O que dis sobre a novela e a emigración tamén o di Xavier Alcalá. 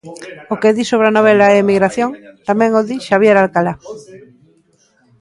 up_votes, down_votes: 0, 2